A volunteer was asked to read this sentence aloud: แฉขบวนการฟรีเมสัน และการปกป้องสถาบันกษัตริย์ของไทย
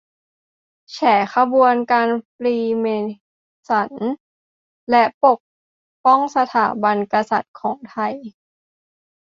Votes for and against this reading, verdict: 0, 2, rejected